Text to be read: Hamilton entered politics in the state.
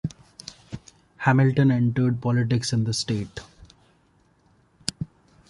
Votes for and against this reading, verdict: 2, 0, accepted